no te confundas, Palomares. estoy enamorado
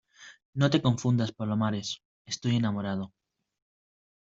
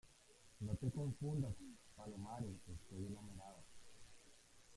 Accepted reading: first